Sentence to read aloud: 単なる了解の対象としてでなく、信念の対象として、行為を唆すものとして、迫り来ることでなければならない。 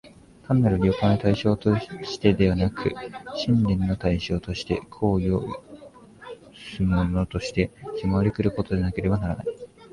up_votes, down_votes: 2, 1